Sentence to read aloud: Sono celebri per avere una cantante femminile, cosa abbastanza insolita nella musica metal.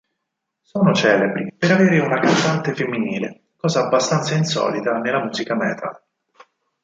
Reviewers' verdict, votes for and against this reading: accepted, 4, 0